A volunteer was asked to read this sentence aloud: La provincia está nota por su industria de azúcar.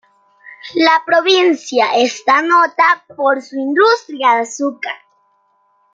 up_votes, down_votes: 0, 2